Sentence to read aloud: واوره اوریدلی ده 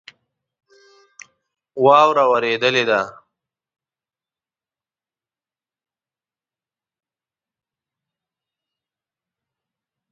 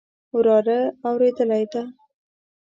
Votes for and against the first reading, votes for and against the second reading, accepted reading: 3, 2, 0, 2, first